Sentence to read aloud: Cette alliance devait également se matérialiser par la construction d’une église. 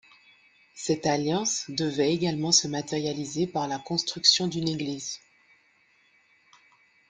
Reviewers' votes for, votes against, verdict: 2, 1, accepted